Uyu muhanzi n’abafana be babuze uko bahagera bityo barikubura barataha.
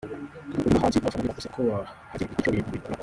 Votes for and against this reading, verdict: 0, 2, rejected